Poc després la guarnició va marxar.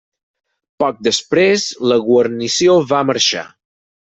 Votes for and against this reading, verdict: 6, 0, accepted